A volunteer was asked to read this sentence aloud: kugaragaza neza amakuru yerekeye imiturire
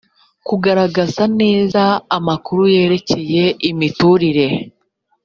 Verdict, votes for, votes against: accepted, 2, 0